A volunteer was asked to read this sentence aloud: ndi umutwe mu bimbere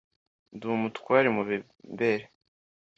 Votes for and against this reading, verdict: 1, 2, rejected